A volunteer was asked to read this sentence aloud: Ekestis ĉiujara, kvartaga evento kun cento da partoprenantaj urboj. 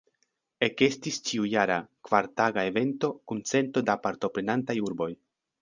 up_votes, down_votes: 2, 0